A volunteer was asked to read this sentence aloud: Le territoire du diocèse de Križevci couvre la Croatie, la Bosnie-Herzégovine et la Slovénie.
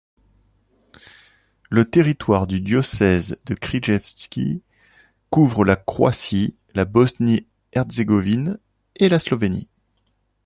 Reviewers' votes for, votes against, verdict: 2, 0, accepted